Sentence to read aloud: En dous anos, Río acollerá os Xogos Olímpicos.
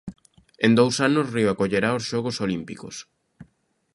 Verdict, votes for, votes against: accepted, 2, 0